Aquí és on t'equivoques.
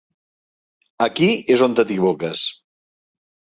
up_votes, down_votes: 1, 2